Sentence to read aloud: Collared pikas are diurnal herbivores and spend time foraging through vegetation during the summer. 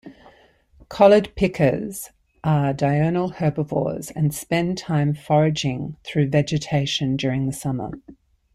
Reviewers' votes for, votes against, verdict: 2, 0, accepted